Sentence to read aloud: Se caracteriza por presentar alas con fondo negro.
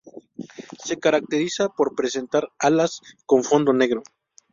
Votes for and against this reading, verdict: 2, 0, accepted